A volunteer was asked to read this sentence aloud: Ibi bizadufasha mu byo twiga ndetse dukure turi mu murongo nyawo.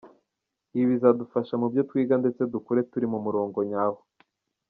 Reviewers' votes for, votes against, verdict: 1, 2, rejected